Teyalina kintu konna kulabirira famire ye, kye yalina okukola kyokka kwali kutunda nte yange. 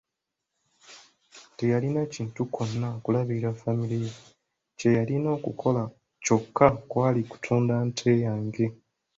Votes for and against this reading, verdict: 1, 2, rejected